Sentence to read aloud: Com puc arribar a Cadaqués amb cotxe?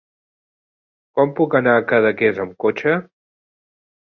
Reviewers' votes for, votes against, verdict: 0, 2, rejected